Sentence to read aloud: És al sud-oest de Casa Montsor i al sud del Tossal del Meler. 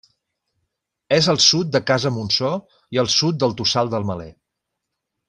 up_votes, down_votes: 1, 2